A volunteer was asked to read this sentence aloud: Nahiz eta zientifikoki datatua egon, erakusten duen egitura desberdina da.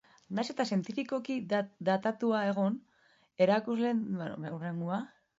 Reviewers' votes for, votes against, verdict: 0, 2, rejected